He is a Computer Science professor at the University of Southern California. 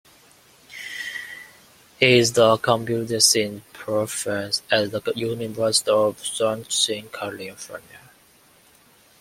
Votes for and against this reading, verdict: 0, 2, rejected